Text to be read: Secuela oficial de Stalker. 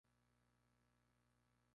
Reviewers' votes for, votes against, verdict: 0, 2, rejected